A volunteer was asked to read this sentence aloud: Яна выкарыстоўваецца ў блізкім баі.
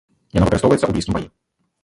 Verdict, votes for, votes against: rejected, 1, 2